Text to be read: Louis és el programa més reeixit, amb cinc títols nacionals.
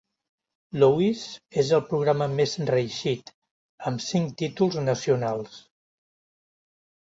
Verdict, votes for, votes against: accepted, 2, 0